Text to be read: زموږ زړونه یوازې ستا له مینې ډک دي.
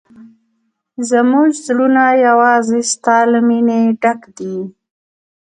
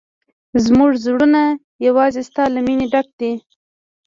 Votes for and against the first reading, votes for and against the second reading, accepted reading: 2, 0, 1, 2, first